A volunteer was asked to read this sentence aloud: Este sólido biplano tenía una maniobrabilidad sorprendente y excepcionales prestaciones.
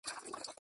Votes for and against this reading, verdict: 0, 2, rejected